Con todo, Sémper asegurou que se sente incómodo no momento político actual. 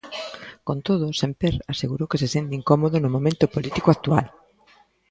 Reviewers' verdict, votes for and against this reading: rejected, 0, 2